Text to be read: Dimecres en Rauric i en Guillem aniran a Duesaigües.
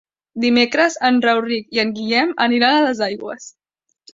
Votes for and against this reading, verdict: 1, 2, rejected